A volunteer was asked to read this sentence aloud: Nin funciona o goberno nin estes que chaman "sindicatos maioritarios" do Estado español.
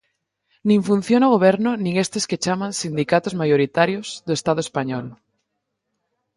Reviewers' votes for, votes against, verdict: 2, 2, rejected